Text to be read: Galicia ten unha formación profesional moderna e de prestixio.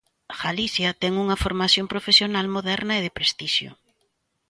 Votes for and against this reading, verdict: 2, 1, accepted